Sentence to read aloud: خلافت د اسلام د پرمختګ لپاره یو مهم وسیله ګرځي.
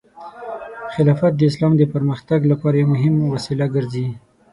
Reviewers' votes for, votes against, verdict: 3, 6, rejected